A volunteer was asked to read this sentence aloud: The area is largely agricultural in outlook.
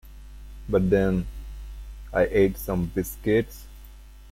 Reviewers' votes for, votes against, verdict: 0, 2, rejected